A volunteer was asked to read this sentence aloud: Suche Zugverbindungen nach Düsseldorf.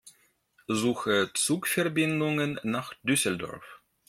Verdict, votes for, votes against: rejected, 0, 2